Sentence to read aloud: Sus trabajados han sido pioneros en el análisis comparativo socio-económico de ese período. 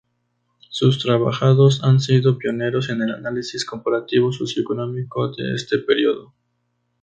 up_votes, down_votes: 0, 4